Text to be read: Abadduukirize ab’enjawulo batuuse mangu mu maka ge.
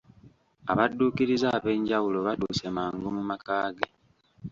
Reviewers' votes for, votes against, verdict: 1, 2, rejected